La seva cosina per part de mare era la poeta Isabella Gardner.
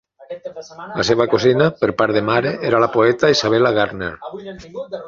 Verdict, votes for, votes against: rejected, 0, 3